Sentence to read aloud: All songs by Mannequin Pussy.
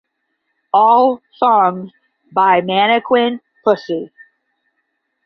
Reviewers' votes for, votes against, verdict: 10, 0, accepted